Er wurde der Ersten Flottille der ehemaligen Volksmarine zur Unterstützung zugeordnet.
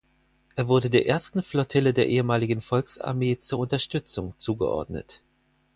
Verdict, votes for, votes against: rejected, 2, 4